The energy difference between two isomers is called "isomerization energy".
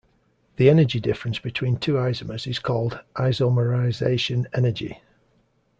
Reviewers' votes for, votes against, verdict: 2, 0, accepted